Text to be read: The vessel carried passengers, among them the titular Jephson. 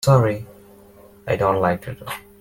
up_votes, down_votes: 1, 2